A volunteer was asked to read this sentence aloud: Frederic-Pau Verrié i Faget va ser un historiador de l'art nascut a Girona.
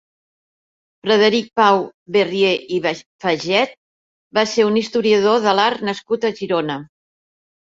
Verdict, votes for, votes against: rejected, 0, 2